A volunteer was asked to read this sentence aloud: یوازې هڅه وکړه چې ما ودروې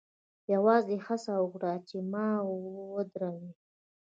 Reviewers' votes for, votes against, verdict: 0, 2, rejected